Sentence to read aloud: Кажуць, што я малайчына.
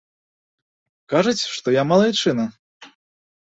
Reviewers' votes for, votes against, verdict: 2, 0, accepted